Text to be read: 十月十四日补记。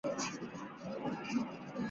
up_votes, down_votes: 1, 3